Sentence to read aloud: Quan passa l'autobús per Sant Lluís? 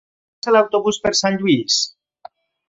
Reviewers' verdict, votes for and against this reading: rejected, 1, 2